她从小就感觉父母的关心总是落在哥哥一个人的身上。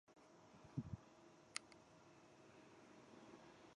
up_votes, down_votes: 0, 2